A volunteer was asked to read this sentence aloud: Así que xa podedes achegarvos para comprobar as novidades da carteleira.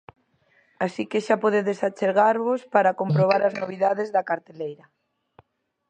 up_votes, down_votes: 2, 0